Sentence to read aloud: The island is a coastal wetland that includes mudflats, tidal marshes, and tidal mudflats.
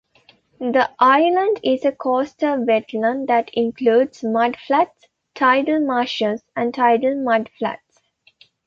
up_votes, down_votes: 2, 0